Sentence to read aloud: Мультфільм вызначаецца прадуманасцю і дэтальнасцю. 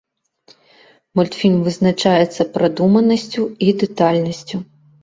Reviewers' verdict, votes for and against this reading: accepted, 2, 0